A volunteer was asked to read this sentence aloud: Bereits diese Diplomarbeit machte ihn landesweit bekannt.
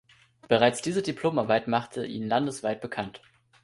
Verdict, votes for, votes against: accepted, 2, 0